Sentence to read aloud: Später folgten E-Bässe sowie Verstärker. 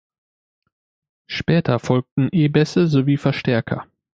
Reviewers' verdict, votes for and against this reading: accepted, 2, 0